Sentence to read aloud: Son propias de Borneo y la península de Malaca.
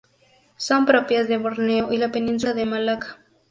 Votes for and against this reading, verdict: 4, 2, accepted